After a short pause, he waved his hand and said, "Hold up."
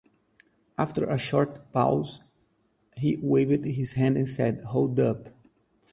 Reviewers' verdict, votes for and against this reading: accepted, 4, 2